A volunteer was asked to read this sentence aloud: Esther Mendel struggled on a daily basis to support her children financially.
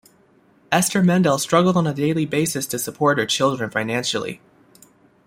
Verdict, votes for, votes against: accepted, 2, 0